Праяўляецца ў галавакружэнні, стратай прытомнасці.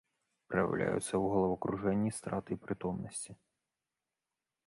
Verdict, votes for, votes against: rejected, 1, 2